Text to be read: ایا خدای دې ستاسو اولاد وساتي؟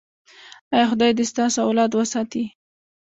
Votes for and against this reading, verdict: 0, 2, rejected